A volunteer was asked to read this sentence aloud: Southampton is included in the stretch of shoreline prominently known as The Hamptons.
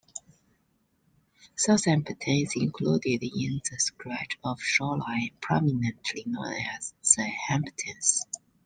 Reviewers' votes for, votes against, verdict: 2, 0, accepted